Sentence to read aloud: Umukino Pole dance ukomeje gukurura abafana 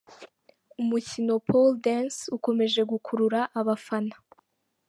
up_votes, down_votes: 2, 1